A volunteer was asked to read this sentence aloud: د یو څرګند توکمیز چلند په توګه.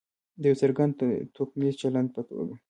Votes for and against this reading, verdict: 2, 0, accepted